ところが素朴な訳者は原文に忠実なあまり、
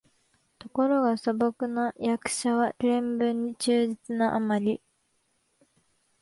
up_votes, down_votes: 2, 0